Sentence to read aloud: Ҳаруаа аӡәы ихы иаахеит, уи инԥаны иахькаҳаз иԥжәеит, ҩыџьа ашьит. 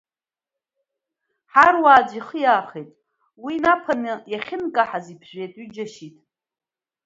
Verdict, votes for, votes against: rejected, 0, 2